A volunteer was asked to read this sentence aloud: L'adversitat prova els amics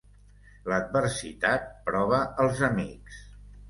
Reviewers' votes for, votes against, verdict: 2, 0, accepted